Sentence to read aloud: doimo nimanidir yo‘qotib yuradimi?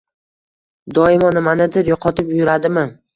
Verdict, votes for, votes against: rejected, 1, 2